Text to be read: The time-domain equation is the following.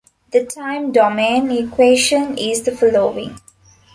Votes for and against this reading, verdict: 2, 0, accepted